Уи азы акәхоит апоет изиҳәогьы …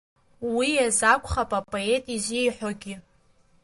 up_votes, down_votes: 2, 1